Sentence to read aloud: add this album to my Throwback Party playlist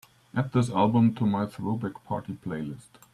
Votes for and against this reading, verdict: 2, 0, accepted